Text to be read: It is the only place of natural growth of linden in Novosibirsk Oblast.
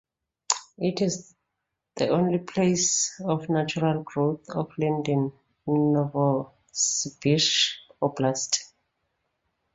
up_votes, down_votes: 1, 2